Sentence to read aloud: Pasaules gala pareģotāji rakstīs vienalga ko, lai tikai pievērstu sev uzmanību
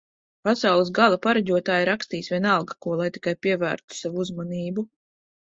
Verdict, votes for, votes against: rejected, 1, 2